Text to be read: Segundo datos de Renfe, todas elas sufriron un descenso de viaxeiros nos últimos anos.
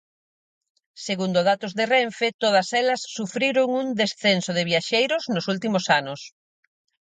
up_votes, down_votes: 4, 0